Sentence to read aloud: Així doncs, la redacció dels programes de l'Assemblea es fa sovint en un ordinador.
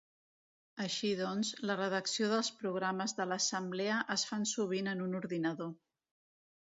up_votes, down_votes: 0, 2